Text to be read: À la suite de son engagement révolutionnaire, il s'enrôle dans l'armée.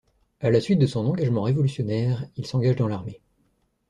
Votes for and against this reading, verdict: 1, 2, rejected